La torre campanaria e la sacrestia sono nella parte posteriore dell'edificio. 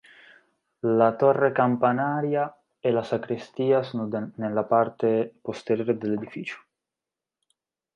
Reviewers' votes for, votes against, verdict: 1, 2, rejected